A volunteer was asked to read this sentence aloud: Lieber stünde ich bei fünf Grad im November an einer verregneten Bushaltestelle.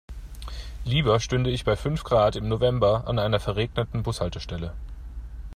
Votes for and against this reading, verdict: 2, 0, accepted